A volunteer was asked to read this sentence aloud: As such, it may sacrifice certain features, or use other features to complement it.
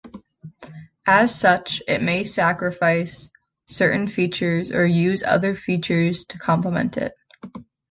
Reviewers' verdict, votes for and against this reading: accepted, 2, 0